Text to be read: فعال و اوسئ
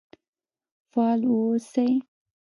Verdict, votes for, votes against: rejected, 0, 2